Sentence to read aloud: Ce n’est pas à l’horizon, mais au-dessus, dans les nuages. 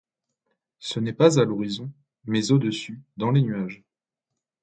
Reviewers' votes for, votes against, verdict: 2, 0, accepted